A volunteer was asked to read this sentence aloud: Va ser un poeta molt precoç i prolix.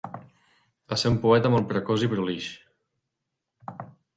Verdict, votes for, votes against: rejected, 1, 2